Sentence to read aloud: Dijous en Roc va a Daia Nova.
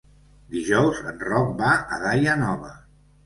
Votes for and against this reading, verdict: 2, 0, accepted